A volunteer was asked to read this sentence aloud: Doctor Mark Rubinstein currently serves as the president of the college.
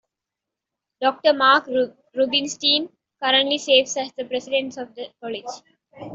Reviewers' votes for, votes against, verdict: 3, 2, accepted